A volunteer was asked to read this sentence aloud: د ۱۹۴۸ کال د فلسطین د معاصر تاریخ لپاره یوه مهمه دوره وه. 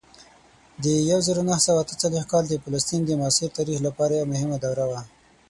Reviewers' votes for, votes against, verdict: 0, 2, rejected